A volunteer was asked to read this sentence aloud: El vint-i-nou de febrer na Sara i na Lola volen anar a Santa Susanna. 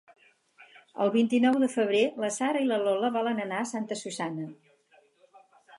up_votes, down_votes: 2, 4